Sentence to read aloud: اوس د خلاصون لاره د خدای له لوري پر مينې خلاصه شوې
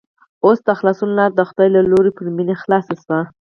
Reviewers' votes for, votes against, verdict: 0, 4, rejected